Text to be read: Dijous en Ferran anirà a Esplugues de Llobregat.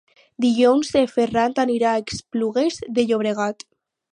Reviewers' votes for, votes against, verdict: 0, 4, rejected